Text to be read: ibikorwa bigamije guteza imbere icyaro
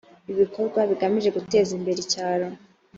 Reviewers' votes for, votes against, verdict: 3, 0, accepted